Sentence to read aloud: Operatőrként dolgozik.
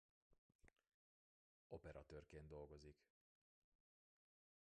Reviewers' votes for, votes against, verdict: 1, 2, rejected